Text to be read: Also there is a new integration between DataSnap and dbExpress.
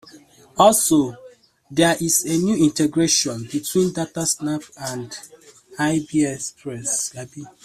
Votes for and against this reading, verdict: 0, 2, rejected